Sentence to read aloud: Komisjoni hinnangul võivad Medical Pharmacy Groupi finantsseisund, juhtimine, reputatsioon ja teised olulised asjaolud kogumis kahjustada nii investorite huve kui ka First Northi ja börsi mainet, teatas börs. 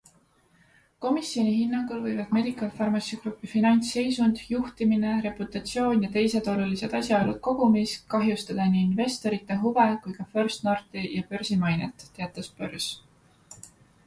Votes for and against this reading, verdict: 2, 0, accepted